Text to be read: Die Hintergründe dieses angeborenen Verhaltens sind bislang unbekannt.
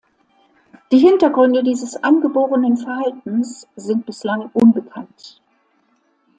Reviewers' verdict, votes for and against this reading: accepted, 2, 0